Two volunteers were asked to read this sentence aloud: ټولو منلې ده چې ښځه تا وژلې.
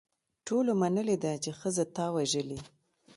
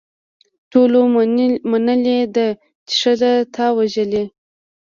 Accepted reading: first